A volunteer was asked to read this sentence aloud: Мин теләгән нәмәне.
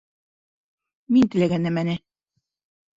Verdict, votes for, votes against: accepted, 2, 0